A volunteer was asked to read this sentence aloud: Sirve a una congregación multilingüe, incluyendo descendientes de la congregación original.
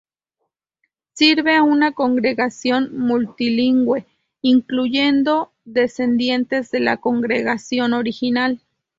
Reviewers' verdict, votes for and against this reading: rejected, 0, 2